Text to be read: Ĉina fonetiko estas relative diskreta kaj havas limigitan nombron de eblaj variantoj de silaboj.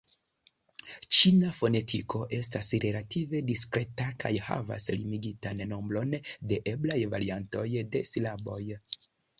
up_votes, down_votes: 2, 0